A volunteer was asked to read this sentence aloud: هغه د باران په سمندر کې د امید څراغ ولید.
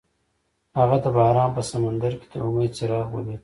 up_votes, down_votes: 2, 0